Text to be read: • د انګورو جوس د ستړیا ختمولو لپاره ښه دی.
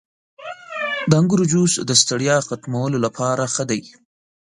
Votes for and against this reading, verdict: 2, 3, rejected